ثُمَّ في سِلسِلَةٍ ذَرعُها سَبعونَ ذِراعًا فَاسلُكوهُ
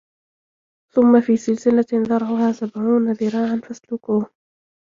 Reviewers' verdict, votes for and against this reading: accepted, 3, 0